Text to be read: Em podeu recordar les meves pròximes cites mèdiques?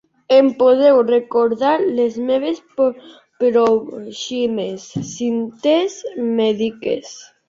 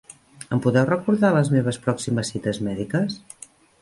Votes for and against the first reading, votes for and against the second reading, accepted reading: 1, 2, 3, 1, second